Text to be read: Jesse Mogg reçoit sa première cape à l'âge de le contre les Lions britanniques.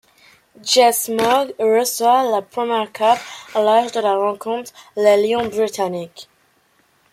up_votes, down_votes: 0, 2